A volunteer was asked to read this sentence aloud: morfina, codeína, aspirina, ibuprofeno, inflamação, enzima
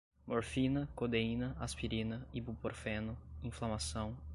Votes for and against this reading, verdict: 0, 2, rejected